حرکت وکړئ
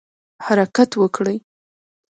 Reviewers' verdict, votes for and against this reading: accepted, 2, 0